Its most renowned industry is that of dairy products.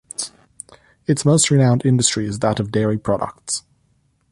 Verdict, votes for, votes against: accepted, 2, 0